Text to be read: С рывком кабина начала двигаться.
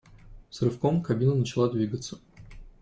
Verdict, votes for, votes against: accepted, 2, 0